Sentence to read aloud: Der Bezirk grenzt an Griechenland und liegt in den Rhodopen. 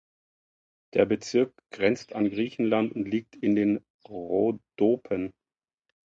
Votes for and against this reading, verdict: 2, 0, accepted